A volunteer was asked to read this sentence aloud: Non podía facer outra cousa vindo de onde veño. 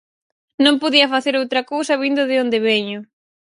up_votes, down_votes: 4, 0